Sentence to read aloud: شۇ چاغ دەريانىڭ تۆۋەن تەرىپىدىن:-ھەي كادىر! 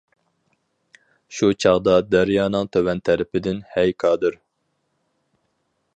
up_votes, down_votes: 0, 4